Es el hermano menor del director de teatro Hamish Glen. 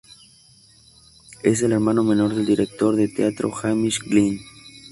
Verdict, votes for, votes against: accepted, 2, 0